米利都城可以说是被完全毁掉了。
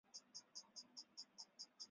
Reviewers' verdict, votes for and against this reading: accepted, 2, 1